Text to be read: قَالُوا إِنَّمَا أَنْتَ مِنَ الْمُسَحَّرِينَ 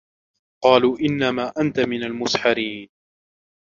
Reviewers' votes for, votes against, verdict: 1, 2, rejected